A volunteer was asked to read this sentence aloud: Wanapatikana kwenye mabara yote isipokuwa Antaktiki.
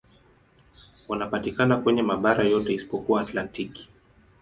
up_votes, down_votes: 0, 2